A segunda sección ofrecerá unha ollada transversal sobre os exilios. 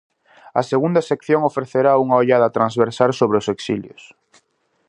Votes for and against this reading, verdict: 2, 0, accepted